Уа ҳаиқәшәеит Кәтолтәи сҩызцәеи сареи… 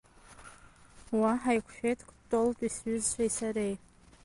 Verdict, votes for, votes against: rejected, 1, 2